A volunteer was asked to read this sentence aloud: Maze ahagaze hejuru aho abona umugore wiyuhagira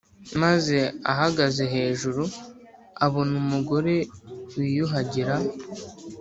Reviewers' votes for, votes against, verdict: 4, 0, accepted